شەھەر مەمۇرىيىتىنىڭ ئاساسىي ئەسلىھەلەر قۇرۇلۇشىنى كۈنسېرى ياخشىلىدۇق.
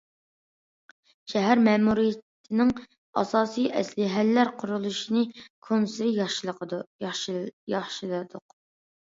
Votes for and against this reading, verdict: 0, 2, rejected